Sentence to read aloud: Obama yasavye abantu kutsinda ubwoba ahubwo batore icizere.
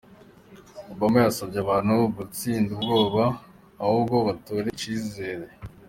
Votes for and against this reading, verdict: 2, 1, accepted